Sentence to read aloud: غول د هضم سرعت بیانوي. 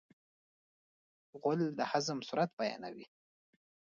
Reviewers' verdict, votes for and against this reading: rejected, 0, 2